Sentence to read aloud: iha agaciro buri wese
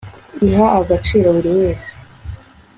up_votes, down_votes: 3, 0